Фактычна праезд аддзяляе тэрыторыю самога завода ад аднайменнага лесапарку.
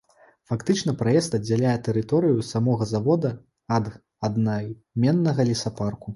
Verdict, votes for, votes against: rejected, 0, 2